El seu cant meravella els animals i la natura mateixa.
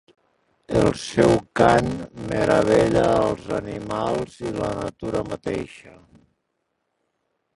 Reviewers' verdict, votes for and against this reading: rejected, 1, 2